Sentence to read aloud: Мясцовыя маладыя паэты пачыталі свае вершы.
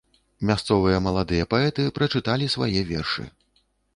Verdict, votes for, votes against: rejected, 2, 3